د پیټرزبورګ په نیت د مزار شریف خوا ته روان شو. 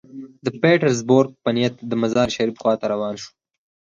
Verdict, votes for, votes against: rejected, 2, 4